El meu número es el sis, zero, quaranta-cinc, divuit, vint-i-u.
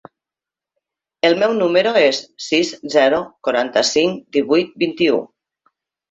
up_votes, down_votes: 1, 2